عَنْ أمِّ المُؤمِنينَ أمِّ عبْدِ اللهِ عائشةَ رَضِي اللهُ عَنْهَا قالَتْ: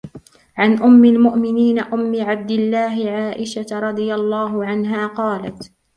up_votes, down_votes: 0, 2